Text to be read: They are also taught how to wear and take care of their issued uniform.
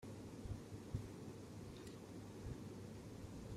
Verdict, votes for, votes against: rejected, 0, 2